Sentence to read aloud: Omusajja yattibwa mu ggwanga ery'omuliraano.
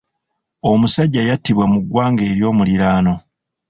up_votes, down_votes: 2, 0